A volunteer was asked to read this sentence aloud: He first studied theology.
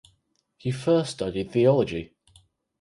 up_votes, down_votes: 4, 0